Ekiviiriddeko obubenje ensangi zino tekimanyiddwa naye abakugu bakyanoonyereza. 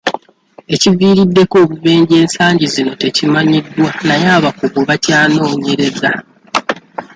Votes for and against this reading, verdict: 2, 1, accepted